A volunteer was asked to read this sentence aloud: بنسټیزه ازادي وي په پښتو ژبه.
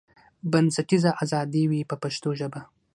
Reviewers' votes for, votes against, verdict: 6, 0, accepted